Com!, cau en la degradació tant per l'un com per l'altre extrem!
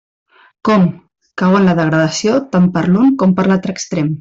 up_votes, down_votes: 2, 0